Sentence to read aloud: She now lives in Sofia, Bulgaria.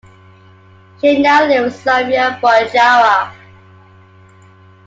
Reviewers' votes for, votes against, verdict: 2, 1, accepted